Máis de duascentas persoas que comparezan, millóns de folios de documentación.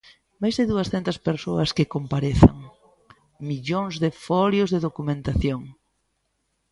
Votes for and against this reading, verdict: 2, 0, accepted